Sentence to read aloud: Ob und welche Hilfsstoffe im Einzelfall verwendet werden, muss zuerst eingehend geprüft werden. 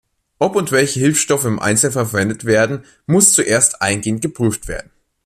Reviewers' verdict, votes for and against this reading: rejected, 1, 2